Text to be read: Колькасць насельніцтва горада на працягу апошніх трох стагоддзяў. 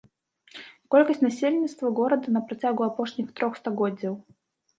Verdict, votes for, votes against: rejected, 1, 2